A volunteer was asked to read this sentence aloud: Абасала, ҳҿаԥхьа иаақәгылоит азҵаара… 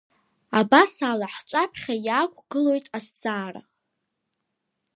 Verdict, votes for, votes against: accepted, 2, 0